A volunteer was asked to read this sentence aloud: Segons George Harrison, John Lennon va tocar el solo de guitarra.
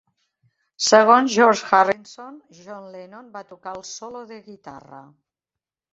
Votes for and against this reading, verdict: 1, 2, rejected